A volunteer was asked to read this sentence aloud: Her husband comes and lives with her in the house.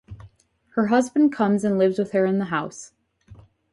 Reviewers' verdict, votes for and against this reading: accepted, 2, 0